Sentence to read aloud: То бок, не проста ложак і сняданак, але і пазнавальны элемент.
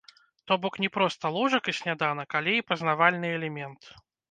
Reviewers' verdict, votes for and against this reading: rejected, 0, 2